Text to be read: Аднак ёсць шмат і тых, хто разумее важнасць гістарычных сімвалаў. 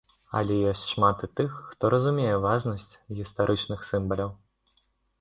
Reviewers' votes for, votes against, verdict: 1, 2, rejected